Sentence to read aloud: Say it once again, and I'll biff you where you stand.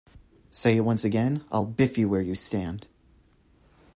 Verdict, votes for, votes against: accepted, 2, 1